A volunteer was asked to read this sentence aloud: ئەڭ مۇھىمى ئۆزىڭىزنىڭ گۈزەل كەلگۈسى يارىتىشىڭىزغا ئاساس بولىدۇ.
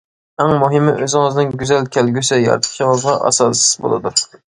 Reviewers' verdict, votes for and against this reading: accepted, 2, 0